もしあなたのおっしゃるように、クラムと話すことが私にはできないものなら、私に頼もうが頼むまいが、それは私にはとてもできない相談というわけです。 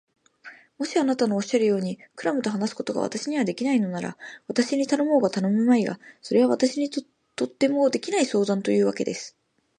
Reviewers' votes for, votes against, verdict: 0, 3, rejected